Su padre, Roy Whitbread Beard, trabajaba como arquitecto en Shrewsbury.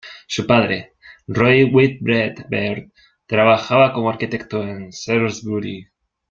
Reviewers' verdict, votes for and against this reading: rejected, 0, 2